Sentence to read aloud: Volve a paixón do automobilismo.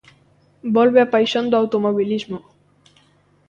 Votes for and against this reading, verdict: 2, 0, accepted